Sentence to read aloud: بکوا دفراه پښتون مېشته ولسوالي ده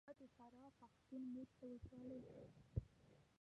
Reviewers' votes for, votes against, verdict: 0, 2, rejected